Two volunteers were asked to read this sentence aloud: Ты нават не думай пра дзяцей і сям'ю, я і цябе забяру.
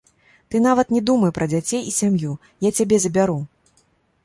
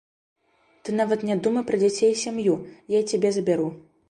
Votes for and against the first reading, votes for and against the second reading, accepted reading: 1, 2, 2, 0, second